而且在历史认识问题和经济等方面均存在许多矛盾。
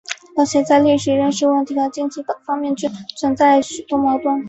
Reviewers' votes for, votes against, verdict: 3, 0, accepted